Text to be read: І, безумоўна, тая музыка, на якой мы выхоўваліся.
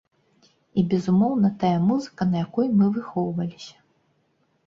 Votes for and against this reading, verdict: 2, 0, accepted